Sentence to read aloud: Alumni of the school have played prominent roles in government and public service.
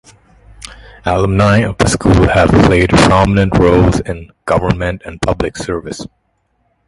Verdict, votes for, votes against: accepted, 2, 0